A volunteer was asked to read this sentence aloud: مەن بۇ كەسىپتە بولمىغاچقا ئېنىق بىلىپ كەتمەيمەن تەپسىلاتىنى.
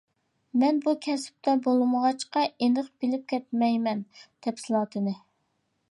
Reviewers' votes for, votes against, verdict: 4, 0, accepted